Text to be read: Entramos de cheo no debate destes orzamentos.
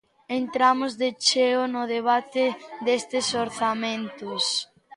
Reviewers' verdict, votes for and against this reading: accepted, 2, 0